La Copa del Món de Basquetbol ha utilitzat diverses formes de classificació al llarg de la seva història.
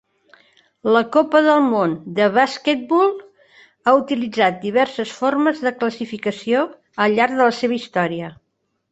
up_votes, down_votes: 4, 0